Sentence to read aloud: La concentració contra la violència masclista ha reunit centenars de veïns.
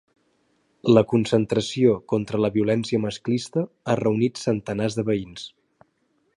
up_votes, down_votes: 4, 0